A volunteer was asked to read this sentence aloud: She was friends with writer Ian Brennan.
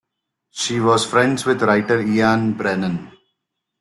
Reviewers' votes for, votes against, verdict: 2, 1, accepted